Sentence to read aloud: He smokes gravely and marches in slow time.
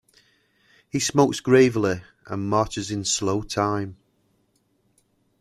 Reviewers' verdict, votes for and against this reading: accepted, 2, 0